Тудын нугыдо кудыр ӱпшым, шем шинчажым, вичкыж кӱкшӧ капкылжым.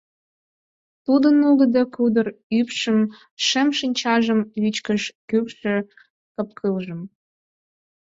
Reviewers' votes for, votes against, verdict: 4, 0, accepted